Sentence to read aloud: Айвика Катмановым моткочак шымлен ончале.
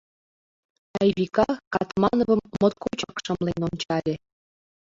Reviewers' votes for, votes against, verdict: 1, 2, rejected